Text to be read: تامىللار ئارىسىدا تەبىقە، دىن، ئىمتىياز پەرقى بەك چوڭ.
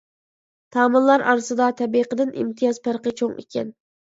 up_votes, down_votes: 0, 2